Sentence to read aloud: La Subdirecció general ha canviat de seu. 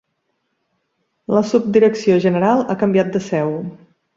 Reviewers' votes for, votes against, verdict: 0, 2, rejected